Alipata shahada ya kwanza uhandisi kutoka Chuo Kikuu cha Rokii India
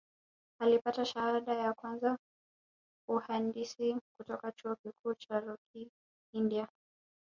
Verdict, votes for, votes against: accepted, 2, 0